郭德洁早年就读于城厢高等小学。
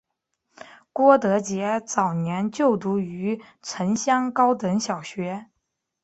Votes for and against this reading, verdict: 2, 0, accepted